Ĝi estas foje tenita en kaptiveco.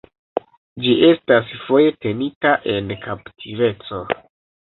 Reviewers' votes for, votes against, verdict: 2, 0, accepted